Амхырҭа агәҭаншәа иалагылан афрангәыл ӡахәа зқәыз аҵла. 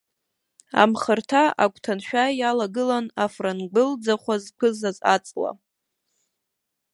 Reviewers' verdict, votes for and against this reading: rejected, 0, 2